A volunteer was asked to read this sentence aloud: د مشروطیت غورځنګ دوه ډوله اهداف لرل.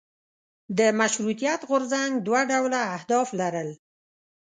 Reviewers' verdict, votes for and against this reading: accepted, 2, 0